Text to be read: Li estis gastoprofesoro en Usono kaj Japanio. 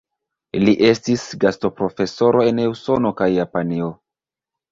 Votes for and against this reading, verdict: 1, 2, rejected